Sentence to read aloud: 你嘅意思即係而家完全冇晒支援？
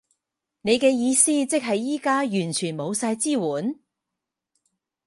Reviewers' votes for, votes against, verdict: 4, 0, accepted